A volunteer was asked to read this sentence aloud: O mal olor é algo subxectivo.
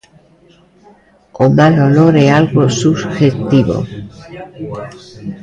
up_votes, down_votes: 0, 2